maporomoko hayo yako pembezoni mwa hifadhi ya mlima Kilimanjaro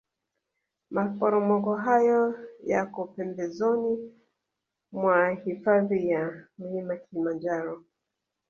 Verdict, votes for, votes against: accepted, 2, 1